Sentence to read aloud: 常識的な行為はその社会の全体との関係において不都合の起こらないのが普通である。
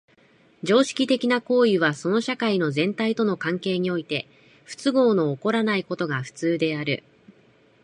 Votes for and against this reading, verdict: 2, 0, accepted